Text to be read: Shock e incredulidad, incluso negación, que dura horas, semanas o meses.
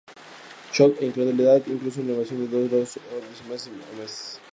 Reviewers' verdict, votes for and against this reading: rejected, 0, 2